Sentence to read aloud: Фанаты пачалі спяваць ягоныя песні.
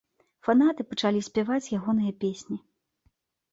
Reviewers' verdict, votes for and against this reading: accepted, 2, 0